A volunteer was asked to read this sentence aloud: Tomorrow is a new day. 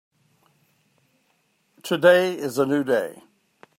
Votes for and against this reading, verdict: 0, 2, rejected